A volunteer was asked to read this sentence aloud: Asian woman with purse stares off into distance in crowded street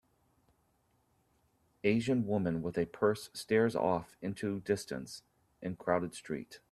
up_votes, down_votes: 0, 2